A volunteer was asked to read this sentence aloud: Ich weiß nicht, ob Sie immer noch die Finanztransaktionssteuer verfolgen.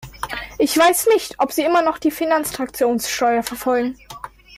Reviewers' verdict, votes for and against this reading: rejected, 0, 2